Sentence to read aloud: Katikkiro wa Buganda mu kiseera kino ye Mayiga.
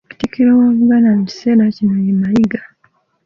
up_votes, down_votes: 0, 2